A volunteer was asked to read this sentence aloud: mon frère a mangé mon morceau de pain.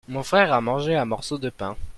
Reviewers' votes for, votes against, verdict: 0, 2, rejected